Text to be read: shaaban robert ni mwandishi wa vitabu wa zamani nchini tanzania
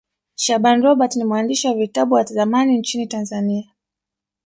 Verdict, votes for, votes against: accepted, 3, 2